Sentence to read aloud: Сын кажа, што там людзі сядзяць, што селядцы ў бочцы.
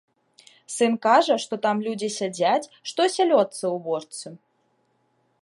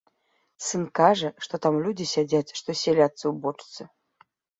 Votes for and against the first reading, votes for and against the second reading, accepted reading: 0, 2, 2, 1, second